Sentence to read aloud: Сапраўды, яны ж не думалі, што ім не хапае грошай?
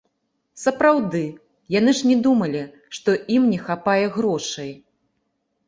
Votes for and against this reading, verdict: 1, 2, rejected